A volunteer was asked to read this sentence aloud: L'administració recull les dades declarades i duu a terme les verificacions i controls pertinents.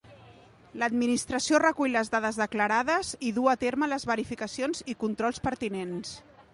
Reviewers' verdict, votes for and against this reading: accepted, 2, 0